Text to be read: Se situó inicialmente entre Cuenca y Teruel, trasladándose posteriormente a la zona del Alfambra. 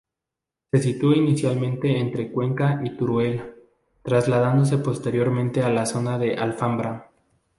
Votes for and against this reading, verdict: 2, 0, accepted